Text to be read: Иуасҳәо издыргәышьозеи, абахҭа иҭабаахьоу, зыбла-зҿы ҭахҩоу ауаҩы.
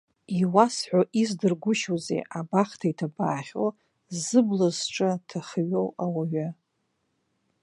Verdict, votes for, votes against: rejected, 1, 2